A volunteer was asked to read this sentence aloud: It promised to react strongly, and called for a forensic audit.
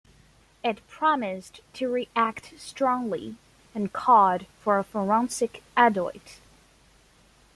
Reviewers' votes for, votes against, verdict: 1, 2, rejected